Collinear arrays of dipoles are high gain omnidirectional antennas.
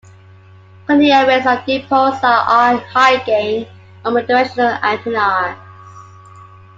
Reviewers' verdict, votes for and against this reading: rejected, 0, 2